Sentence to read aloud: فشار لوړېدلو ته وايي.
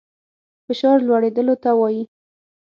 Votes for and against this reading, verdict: 6, 0, accepted